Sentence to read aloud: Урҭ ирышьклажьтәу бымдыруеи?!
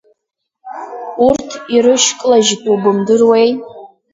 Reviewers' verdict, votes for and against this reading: rejected, 0, 2